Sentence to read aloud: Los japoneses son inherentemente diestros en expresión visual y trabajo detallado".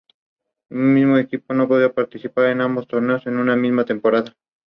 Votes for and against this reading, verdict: 0, 2, rejected